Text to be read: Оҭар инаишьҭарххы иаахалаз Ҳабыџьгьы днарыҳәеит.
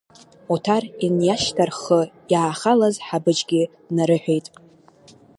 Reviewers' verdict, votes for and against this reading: rejected, 1, 2